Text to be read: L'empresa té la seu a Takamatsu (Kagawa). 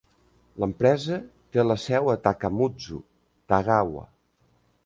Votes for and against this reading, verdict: 0, 2, rejected